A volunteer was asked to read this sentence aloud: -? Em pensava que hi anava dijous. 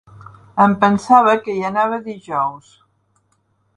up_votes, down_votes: 3, 0